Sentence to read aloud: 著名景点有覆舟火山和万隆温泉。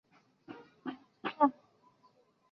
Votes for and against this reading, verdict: 2, 0, accepted